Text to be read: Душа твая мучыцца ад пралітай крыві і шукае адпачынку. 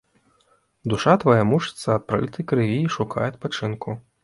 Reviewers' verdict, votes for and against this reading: accepted, 2, 0